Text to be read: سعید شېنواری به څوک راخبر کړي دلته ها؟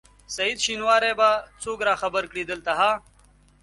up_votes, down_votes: 2, 0